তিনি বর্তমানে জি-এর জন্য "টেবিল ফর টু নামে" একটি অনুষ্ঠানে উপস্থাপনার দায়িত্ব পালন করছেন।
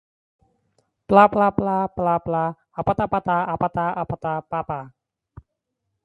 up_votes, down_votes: 0, 3